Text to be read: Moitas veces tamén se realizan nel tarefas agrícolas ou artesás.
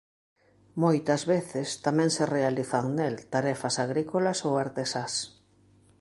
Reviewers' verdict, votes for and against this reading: accepted, 2, 0